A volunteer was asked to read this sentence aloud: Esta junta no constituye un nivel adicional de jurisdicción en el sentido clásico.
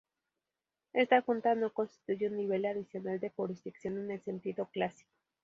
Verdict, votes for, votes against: accepted, 4, 0